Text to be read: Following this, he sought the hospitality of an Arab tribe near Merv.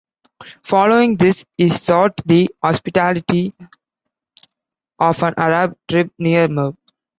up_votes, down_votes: 1, 2